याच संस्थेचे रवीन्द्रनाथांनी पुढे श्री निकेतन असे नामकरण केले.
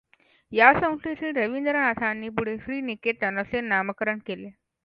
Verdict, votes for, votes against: accepted, 2, 0